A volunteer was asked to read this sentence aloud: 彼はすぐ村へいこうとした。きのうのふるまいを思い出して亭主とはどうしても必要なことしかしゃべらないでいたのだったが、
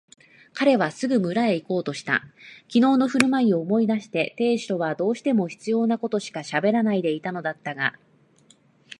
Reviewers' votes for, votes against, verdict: 4, 0, accepted